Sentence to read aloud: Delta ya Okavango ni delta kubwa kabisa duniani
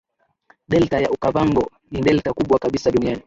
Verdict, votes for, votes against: rejected, 2, 2